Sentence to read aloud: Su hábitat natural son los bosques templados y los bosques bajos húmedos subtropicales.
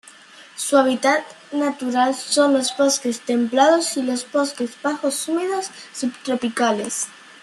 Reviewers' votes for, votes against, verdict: 2, 1, accepted